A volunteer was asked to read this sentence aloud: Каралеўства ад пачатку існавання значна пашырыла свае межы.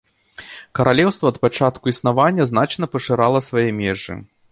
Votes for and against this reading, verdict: 1, 2, rejected